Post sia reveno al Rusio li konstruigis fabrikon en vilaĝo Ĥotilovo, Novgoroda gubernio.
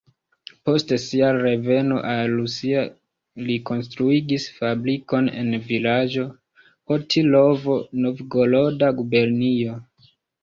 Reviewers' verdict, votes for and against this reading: rejected, 0, 2